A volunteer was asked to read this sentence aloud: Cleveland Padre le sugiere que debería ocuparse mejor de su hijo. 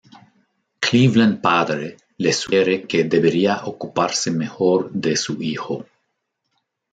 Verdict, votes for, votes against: rejected, 1, 2